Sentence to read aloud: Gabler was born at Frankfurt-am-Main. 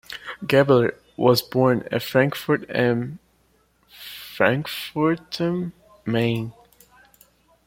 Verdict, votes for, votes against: rejected, 0, 2